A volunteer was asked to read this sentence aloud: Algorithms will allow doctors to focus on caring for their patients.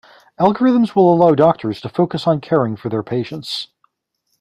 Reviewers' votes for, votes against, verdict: 2, 0, accepted